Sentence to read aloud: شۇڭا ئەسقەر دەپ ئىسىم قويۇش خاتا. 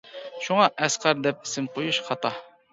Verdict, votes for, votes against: accepted, 2, 0